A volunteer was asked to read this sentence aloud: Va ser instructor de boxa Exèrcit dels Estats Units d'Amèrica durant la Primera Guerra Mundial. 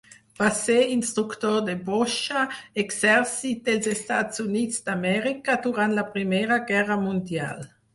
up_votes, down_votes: 2, 4